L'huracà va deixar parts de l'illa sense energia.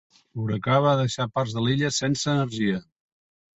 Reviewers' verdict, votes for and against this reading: accepted, 3, 0